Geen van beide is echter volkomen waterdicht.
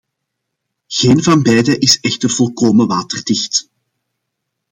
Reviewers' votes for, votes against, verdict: 2, 0, accepted